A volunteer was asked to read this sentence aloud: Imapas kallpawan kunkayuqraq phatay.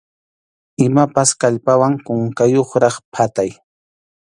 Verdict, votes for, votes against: accepted, 2, 0